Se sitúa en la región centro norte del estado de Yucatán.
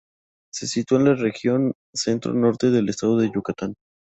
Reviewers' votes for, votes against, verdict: 2, 0, accepted